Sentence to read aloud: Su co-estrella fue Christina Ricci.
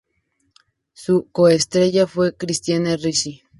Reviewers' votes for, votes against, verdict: 0, 2, rejected